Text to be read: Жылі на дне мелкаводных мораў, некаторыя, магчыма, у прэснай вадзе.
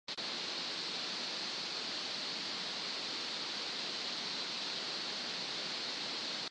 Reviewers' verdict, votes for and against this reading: rejected, 0, 2